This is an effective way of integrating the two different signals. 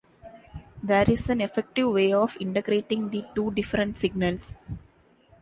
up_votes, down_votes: 1, 2